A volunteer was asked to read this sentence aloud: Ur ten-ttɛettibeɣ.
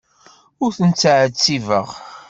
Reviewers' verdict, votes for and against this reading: accepted, 2, 0